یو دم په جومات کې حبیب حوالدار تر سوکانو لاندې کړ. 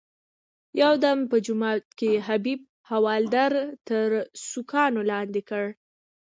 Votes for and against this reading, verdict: 1, 2, rejected